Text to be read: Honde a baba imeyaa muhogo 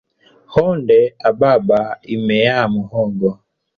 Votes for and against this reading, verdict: 1, 2, rejected